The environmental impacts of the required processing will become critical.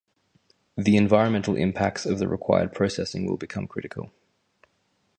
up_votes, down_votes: 4, 0